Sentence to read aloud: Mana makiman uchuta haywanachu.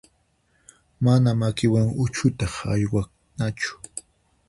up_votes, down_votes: 2, 4